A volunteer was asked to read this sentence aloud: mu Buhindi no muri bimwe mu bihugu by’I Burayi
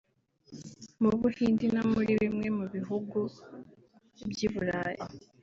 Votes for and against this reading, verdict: 1, 2, rejected